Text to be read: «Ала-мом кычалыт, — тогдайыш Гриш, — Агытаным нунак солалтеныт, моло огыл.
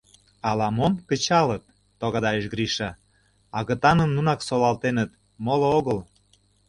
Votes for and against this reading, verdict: 2, 1, accepted